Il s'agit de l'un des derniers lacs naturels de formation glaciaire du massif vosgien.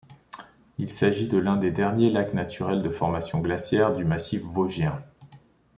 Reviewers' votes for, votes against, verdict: 2, 0, accepted